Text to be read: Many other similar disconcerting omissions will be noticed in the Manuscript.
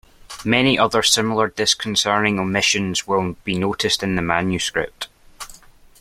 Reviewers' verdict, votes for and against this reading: rejected, 0, 2